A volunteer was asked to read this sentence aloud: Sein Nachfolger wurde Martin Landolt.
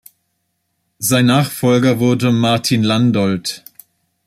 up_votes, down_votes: 2, 0